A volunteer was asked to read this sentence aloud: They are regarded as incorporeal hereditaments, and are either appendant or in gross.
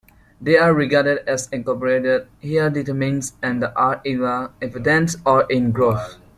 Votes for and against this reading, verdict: 0, 2, rejected